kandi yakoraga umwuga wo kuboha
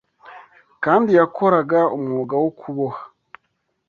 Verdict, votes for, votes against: accepted, 2, 0